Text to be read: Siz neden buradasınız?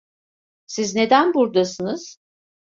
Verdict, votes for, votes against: accepted, 2, 0